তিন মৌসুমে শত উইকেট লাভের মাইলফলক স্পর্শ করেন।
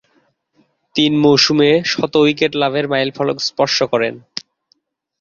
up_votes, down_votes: 10, 0